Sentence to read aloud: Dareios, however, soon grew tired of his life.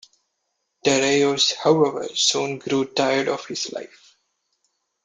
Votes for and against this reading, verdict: 2, 0, accepted